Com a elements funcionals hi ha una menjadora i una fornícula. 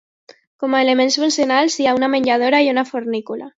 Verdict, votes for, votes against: accepted, 2, 1